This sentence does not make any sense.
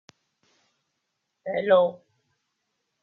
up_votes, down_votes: 0, 2